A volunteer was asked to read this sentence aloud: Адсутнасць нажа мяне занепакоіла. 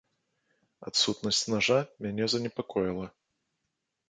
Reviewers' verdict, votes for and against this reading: accepted, 2, 0